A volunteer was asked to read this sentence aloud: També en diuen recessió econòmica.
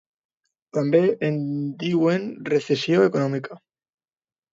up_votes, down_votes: 0, 2